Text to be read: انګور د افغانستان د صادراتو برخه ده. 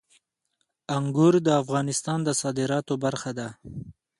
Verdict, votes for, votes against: accepted, 2, 0